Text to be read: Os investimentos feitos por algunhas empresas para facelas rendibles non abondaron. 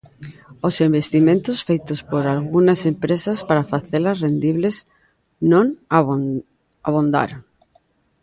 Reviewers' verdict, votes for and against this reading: rejected, 0, 2